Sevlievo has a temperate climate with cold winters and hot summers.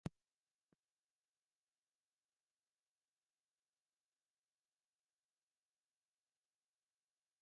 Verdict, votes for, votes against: rejected, 0, 2